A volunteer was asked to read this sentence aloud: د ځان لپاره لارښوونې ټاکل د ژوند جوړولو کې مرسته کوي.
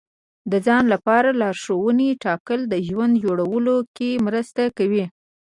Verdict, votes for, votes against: accepted, 2, 0